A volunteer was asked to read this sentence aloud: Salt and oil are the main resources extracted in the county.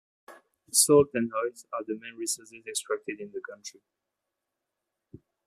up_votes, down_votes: 0, 2